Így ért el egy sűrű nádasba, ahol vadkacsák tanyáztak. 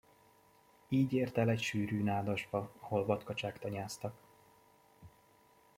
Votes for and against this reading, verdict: 2, 0, accepted